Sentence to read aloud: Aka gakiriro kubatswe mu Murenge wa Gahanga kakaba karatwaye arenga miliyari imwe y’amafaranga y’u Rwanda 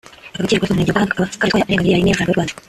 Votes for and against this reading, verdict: 0, 4, rejected